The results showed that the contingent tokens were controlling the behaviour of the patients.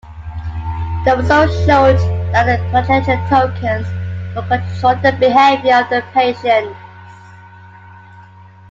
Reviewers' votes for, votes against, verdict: 0, 2, rejected